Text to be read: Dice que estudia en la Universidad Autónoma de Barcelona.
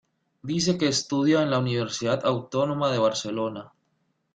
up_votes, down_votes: 2, 0